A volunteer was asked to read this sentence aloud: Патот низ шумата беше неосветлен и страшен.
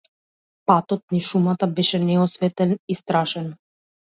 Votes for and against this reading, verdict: 0, 2, rejected